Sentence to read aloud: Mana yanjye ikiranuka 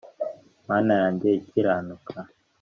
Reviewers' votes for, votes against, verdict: 2, 0, accepted